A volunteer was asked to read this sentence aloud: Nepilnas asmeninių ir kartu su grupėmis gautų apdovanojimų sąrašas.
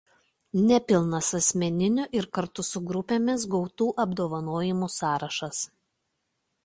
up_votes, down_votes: 2, 0